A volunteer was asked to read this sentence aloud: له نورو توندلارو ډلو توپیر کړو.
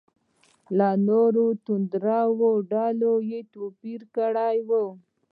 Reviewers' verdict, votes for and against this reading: rejected, 1, 2